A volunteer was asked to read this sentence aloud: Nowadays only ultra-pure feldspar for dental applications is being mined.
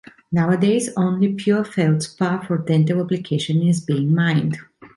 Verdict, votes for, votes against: rejected, 0, 2